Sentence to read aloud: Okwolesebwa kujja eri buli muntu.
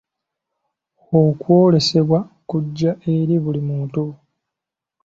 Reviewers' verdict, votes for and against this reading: accepted, 2, 0